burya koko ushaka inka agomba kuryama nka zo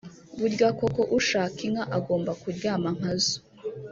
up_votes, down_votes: 1, 2